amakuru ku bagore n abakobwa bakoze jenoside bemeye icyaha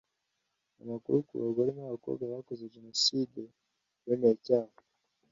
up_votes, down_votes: 2, 0